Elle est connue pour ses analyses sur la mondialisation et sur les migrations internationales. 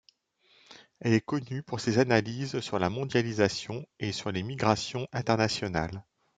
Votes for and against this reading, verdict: 2, 1, accepted